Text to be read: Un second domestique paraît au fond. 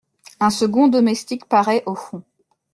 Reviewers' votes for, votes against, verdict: 2, 0, accepted